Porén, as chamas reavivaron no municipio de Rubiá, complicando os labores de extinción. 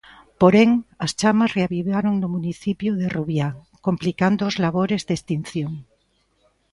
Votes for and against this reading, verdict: 2, 0, accepted